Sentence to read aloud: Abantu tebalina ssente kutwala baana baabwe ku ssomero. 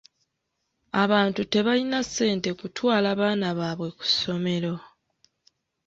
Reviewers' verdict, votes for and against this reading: accepted, 2, 0